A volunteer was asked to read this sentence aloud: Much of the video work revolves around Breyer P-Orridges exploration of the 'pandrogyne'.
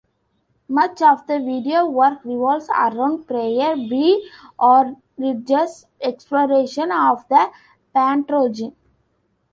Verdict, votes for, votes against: rejected, 1, 2